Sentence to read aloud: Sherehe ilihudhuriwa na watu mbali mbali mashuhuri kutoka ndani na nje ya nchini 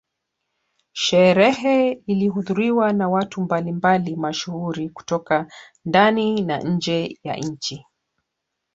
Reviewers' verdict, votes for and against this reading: rejected, 1, 2